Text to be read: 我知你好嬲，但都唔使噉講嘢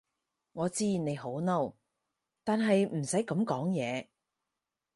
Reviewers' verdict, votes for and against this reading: rejected, 0, 4